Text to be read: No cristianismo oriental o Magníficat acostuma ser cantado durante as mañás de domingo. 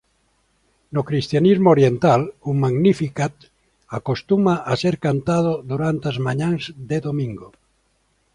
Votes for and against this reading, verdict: 1, 2, rejected